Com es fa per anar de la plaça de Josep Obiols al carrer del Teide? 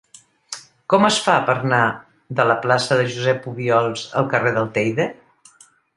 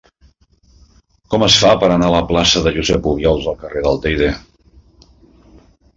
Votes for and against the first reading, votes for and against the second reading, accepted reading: 3, 0, 0, 2, first